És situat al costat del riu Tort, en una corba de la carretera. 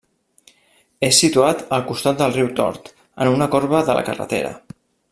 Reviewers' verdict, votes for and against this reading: accepted, 3, 0